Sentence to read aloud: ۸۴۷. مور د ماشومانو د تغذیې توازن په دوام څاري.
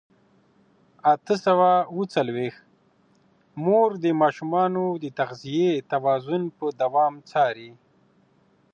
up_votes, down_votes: 0, 2